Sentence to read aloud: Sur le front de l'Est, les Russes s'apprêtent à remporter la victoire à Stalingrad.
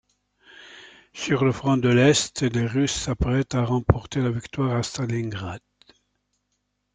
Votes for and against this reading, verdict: 2, 0, accepted